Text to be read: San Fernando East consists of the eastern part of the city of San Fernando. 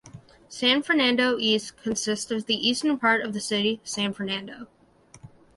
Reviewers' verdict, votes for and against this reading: accepted, 2, 0